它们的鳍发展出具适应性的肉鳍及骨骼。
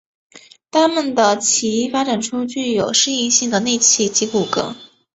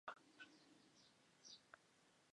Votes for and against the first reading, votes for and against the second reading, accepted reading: 2, 0, 0, 2, first